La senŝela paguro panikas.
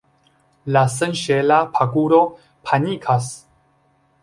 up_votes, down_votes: 2, 0